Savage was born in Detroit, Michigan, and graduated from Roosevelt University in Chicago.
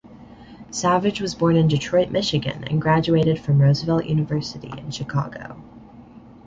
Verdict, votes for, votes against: accepted, 2, 0